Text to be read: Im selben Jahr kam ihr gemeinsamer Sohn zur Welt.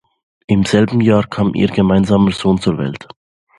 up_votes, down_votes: 2, 0